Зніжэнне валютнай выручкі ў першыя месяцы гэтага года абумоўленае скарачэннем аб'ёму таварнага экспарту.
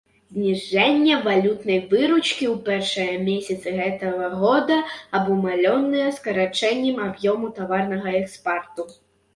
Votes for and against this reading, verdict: 1, 2, rejected